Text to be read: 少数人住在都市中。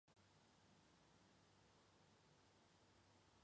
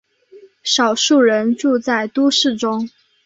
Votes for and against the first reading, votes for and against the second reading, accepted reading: 1, 3, 4, 0, second